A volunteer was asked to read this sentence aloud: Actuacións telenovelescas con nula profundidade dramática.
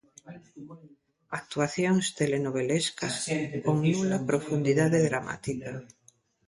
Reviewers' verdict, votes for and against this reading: rejected, 1, 2